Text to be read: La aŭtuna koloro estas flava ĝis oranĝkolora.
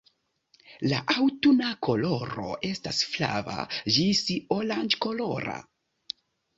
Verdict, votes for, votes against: accepted, 2, 1